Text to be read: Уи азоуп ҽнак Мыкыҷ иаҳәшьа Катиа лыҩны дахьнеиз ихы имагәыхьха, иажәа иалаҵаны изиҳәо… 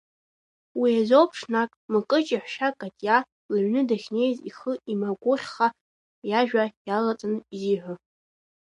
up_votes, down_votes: 1, 2